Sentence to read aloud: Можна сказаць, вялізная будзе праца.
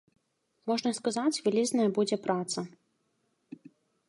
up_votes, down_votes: 2, 0